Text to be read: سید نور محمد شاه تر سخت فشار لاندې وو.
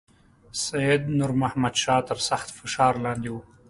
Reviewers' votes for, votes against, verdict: 2, 0, accepted